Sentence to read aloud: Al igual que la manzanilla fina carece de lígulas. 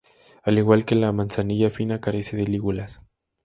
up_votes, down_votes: 2, 0